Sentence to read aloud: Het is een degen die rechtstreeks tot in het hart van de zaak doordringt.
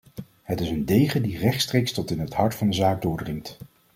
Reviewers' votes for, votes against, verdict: 2, 0, accepted